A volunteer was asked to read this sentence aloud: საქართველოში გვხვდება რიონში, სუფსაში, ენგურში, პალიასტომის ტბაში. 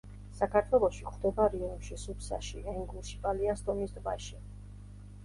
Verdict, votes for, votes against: accepted, 2, 0